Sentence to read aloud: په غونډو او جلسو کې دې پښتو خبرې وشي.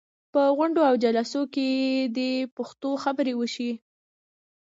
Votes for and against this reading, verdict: 0, 2, rejected